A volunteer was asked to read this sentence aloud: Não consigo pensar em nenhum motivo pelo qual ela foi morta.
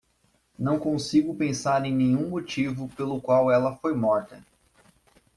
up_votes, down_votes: 2, 0